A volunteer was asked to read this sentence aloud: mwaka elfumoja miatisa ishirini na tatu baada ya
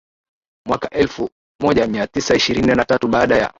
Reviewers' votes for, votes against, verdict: 0, 2, rejected